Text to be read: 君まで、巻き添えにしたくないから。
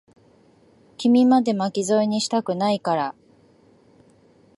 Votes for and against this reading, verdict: 2, 0, accepted